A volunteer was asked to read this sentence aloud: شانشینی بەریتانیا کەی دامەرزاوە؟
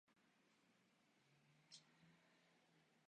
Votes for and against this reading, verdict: 0, 2, rejected